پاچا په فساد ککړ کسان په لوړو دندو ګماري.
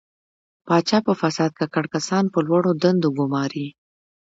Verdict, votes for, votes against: rejected, 1, 2